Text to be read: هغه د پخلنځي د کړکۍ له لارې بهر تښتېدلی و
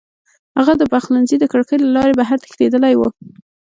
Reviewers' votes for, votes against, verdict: 3, 0, accepted